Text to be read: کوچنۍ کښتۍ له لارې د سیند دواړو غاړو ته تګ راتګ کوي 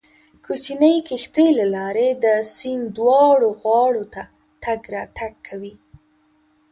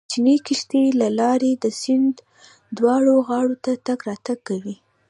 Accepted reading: first